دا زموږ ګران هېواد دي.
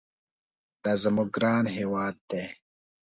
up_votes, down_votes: 2, 0